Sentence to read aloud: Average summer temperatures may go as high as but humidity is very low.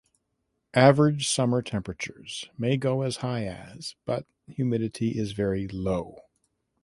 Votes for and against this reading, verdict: 2, 0, accepted